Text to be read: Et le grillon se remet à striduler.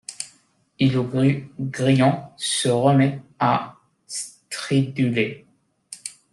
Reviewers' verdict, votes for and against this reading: rejected, 0, 2